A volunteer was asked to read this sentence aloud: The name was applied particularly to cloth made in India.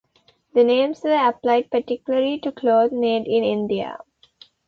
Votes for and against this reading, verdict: 0, 2, rejected